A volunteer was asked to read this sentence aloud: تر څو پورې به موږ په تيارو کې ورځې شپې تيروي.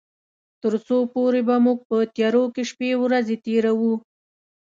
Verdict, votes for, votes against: rejected, 1, 2